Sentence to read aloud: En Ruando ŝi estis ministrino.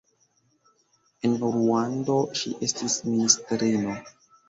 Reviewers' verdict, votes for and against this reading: rejected, 1, 2